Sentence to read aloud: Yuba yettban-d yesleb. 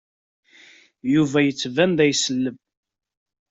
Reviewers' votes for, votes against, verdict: 1, 2, rejected